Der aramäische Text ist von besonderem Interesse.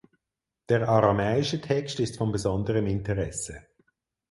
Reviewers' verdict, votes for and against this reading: accepted, 4, 0